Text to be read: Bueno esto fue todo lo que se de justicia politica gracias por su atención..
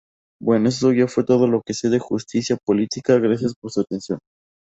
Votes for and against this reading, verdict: 4, 0, accepted